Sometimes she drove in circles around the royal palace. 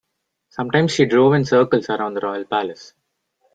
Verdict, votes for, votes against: accepted, 3, 0